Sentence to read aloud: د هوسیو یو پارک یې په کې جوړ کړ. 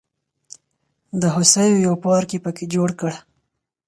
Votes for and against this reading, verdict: 4, 0, accepted